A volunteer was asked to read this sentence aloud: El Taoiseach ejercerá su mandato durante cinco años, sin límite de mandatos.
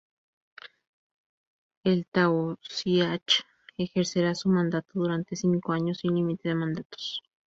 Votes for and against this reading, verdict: 2, 2, rejected